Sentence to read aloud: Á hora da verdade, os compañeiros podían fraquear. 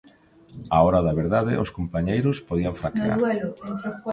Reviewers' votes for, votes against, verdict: 2, 0, accepted